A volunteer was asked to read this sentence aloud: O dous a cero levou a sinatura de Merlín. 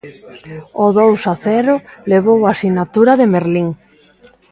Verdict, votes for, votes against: accepted, 3, 1